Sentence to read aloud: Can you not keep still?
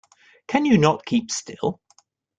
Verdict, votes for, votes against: accepted, 3, 0